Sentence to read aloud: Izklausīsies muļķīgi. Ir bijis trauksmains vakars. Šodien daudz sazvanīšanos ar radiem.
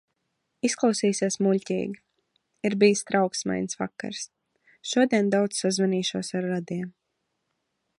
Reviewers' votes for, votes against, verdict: 1, 2, rejected